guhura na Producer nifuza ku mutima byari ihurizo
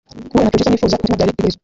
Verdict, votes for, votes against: rejected, 0, 2